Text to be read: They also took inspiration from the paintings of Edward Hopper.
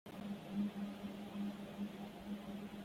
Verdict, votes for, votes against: rejected, 0, 2